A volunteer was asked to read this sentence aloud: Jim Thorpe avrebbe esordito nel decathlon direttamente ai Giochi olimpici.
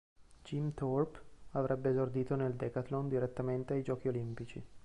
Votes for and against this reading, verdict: 3, 0, accepted